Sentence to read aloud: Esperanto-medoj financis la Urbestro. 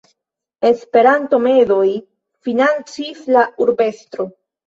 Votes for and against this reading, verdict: 1, 2, rejected